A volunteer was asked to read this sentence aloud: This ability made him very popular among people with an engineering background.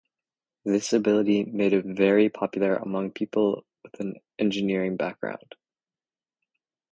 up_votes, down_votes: 0, 2